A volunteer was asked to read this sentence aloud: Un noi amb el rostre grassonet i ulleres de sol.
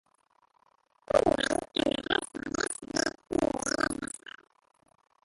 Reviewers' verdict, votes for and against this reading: rejected, 0, 2